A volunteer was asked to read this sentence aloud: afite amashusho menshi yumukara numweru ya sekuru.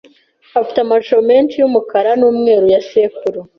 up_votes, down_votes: 0, 2